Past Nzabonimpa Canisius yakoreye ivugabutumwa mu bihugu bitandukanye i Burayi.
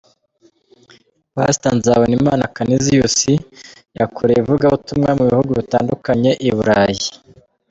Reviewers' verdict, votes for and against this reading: rejected, 1, 2